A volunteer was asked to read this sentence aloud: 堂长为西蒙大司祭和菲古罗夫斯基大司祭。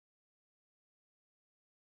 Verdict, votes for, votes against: rejected, 0, 2